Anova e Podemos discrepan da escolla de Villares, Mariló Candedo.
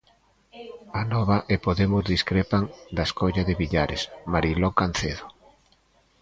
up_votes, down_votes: 0, 2